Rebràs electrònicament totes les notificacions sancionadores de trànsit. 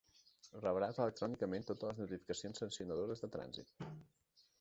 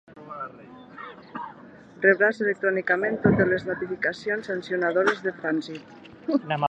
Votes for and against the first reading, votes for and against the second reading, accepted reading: 0, 2, 2, 0, second